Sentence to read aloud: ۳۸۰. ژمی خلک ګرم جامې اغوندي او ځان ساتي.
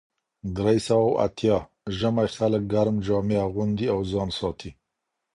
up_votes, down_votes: 0, 2